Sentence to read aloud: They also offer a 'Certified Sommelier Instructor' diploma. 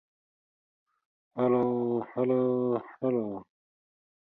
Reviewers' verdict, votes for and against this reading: rejected, 0, 2